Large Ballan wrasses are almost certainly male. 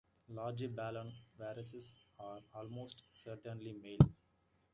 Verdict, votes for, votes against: accepted, 2, 1